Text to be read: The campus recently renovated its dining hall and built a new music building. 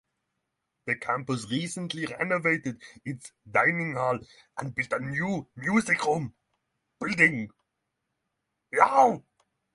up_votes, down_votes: 0, 3